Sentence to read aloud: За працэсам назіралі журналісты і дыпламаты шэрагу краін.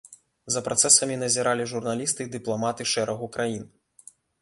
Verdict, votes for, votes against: rejected, 1, 2